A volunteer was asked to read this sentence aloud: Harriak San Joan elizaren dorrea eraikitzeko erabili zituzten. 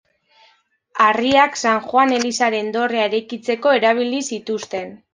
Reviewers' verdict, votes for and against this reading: accepted, 2, 1